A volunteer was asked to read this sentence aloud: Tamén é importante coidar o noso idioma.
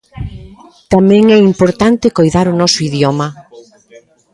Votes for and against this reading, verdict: 2, 0, accepted